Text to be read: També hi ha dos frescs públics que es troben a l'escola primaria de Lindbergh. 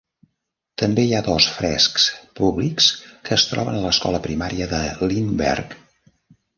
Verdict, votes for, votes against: accepted, 2, 0